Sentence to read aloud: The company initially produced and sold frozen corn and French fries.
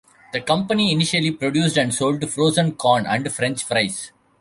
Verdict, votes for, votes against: accepted, 2, 1